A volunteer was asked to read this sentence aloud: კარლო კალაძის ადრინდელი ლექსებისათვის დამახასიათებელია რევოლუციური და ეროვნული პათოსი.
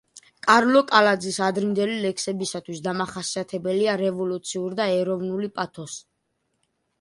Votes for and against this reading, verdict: 2, 0, accepted